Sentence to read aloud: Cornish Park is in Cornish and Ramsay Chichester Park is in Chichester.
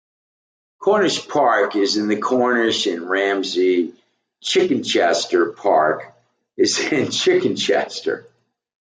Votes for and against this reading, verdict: 0, 2, rejected